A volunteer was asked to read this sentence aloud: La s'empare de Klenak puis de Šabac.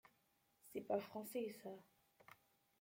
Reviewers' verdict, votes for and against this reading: rejected, 0, 2